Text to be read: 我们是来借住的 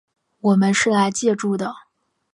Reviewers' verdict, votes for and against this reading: accepted, 5, 0